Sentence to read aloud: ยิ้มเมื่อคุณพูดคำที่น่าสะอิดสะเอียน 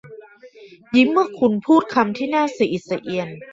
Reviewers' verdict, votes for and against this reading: rejected, 1, 2